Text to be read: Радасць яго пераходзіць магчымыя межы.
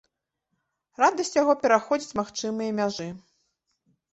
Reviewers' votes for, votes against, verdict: 1, 2, rejected